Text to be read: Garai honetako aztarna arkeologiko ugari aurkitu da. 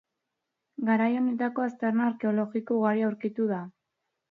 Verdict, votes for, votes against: rejected, 0, 2